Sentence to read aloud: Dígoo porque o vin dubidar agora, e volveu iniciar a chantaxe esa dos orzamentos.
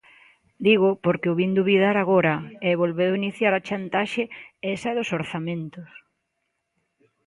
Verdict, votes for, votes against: accepted, 2, 0